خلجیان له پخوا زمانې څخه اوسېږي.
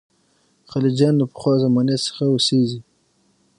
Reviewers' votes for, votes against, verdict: 6, 0, accepted